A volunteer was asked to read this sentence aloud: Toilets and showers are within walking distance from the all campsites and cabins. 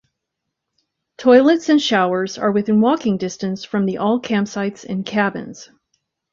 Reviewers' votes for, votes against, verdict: 2, 0, accepted